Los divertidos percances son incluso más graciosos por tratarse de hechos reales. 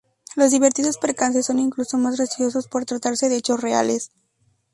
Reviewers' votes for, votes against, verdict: 0, 2, rejected